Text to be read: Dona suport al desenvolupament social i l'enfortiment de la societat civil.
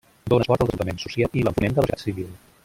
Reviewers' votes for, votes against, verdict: 1, 2, rejected